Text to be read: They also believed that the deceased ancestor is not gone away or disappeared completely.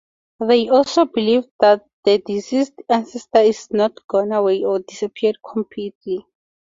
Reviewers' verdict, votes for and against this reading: accepted, 4, 2